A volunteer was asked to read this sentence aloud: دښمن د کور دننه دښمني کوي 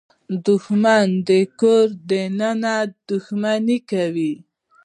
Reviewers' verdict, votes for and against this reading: accepted, 2, 0